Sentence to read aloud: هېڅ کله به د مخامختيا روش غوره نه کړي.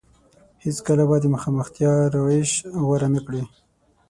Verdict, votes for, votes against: accepted, 6, 0